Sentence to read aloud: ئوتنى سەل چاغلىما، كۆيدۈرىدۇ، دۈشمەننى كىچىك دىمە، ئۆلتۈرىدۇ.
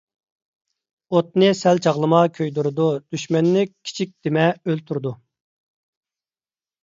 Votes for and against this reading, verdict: 2, 0, accepted